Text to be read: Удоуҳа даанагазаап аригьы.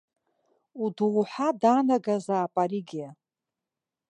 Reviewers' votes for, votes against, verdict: 4, 1, accepted